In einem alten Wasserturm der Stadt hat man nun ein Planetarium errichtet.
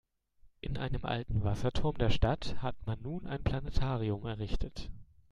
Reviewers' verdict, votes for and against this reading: accepted, 2, 0